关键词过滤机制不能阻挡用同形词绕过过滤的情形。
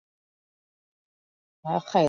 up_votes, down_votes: 0, 2